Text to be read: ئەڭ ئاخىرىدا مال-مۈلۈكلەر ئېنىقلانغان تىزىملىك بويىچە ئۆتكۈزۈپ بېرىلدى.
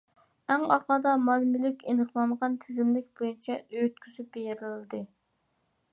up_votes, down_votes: 2, 1